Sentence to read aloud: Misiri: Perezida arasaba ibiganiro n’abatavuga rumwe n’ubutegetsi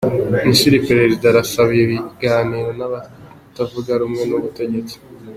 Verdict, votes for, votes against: accepted, 2, 0